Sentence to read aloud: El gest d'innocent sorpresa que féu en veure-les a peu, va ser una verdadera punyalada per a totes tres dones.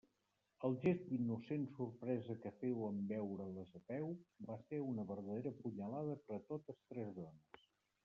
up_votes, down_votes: 0, 2